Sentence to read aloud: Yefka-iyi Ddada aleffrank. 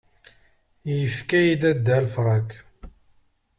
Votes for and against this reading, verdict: 2, 0, accepted